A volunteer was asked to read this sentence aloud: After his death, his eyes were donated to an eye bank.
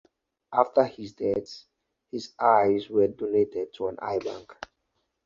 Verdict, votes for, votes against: rejected, 0, 2